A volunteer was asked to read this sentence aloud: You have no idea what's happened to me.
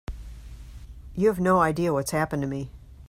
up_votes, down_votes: 2, 0